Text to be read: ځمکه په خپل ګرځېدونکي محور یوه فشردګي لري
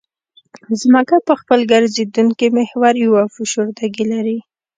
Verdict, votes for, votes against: accepted, 2, 0